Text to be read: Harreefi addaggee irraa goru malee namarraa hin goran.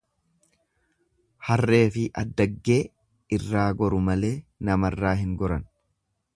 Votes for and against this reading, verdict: 2, 0, accepted